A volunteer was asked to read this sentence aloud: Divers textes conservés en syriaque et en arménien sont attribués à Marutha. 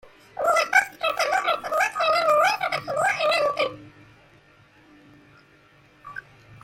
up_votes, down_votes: 0, 2